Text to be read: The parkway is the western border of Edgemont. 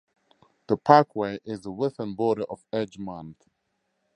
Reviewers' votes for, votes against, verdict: 4, 0, accepted